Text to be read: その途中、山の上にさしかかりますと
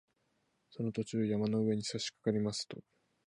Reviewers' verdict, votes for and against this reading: accepted, 3, 0